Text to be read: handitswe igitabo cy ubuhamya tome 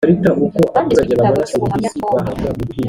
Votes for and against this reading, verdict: 1, 3, rejected